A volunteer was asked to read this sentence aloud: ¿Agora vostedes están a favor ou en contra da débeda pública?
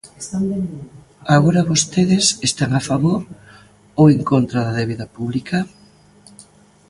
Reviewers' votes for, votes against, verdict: 1, 2, rejected